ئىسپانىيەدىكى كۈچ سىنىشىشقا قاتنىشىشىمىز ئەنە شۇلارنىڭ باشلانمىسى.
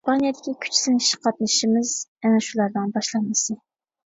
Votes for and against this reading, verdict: 1, 2, rejected